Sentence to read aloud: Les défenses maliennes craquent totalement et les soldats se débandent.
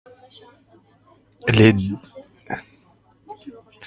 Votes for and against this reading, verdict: 0, 2, rejected